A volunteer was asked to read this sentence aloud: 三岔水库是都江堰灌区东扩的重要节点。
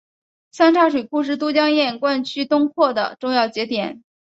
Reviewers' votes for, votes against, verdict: 3, 0, accepted